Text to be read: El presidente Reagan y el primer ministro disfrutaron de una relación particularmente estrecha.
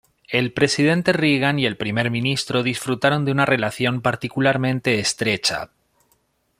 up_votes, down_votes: 2, 0